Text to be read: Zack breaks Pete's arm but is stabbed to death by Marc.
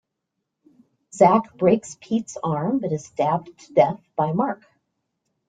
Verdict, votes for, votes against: accepted, 2, 0